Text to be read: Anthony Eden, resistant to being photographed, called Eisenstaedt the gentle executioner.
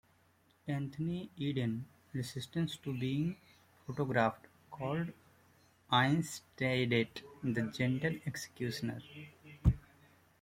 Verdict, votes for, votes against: rejected, 0, 2